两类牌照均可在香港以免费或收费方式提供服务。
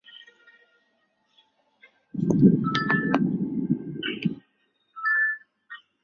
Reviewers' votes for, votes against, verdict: 0, 4, rejected